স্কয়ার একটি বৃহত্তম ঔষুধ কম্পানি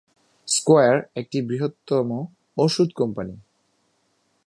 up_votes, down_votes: 2, 0